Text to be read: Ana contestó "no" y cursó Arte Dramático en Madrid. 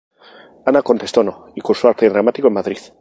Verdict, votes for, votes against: rejected, 2, 2